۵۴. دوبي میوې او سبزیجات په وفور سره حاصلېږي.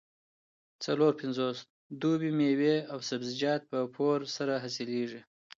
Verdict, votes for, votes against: rejected, 0, 2